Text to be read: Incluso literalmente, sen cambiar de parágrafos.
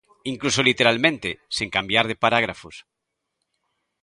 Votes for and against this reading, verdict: 2, 0, accepted